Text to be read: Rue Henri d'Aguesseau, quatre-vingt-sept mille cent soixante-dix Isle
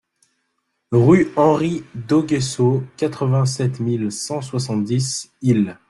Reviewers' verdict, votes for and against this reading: rejected, 0, 2